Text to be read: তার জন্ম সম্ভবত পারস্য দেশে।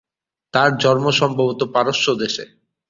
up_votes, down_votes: 2, 0